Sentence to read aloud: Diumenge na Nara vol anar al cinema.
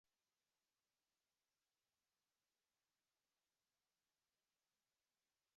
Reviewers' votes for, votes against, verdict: 0, 2, rejected